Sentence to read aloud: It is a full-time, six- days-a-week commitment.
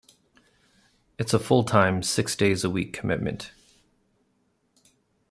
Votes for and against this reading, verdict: 2, 0, accepted